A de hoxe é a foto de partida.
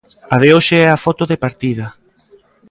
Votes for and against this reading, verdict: 2, 0, accepted